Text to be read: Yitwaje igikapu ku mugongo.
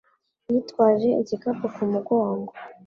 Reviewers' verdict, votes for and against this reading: accepted, 2, 0